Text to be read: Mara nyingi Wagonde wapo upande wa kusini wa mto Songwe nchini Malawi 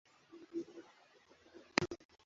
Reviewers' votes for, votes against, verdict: 0, 2, rejected